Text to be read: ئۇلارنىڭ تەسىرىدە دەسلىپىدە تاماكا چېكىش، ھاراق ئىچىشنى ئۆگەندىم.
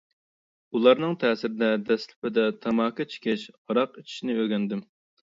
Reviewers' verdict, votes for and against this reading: accepted, 2, 0